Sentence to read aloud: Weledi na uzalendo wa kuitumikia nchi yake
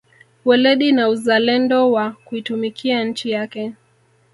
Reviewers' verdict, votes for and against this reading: accepted, 3, 1